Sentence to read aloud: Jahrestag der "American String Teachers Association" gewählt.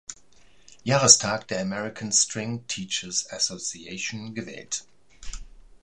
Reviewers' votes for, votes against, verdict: 2, 0, accepted